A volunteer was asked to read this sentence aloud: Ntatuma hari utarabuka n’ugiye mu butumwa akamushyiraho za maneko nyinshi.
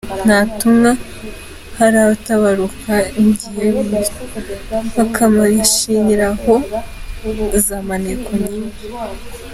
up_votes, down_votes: 1, 2